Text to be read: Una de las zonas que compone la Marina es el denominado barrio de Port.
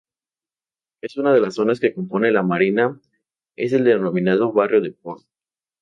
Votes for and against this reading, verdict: 0, 2, rejected